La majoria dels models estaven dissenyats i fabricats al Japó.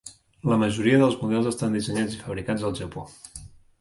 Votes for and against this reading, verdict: 0, 2, rejected